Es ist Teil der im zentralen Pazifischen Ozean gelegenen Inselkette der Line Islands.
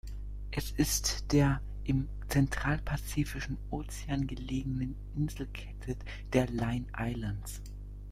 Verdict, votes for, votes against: rejected, 0, 2